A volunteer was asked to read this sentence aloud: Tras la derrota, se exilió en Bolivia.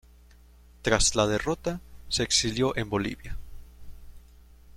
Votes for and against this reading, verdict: 2, 0, accepted